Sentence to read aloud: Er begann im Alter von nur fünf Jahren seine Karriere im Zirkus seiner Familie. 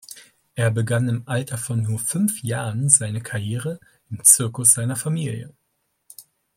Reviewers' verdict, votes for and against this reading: accepted, 2, 0